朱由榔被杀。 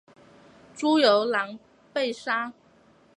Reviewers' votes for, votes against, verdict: 2, 1, accepted